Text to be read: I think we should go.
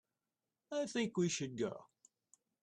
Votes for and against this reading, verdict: 2, 0, accepted